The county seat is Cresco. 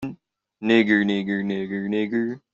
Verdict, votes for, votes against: rejected, 0, 2